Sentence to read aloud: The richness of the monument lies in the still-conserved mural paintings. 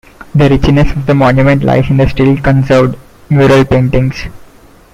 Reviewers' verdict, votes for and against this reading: rejected, 1, 2